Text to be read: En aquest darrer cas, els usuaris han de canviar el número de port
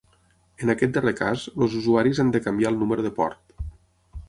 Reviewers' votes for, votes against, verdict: 3, 9, rejected